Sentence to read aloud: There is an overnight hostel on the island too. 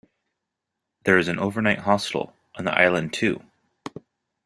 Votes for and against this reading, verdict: 2, 0, accepted